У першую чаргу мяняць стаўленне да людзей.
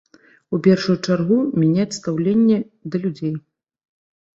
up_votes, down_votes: 1, 2